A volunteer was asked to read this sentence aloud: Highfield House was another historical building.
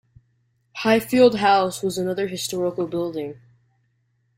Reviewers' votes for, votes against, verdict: 2, 0, accepted